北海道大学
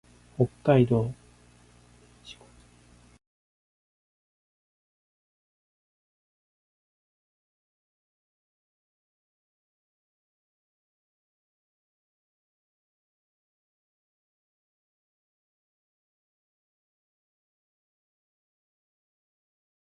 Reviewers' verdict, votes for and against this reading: rejected, 0, 2